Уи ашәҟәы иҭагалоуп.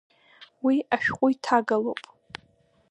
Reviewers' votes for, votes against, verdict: 0, 2, rejected